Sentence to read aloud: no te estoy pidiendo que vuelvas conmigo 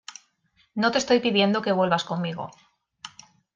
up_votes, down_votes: 2, 0